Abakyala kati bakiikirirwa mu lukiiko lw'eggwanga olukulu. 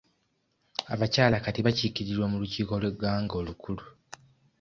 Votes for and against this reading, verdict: 2, 0, accepted